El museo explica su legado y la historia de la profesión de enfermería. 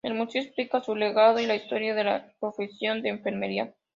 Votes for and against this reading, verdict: 2, 0, accepted